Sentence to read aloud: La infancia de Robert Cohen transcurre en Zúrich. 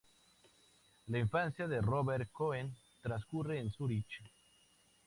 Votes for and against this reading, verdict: 2, 0, accepted